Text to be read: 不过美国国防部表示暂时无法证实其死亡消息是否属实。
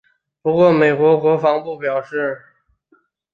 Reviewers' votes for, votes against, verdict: 0, 3, rejected